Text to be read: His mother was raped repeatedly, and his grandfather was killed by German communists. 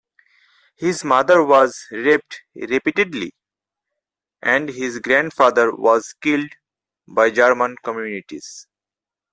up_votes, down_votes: 2, 4